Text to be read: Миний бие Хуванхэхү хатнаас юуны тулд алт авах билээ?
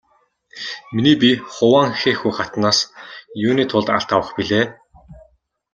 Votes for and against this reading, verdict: 2, 0, accepted